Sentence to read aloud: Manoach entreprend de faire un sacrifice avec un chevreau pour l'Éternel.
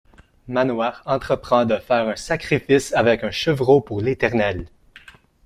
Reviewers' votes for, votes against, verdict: 1, 2, rejected